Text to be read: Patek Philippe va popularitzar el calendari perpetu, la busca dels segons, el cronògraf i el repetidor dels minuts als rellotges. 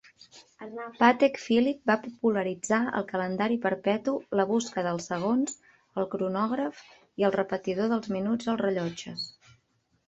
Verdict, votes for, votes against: rejected, 0, 2